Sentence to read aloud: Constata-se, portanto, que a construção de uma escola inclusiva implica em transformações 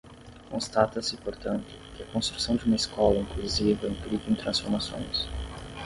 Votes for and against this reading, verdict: 0, 5, rejected